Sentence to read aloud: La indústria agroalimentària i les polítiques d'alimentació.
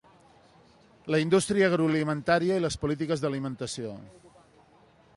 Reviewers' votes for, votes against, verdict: 2, 0, accepted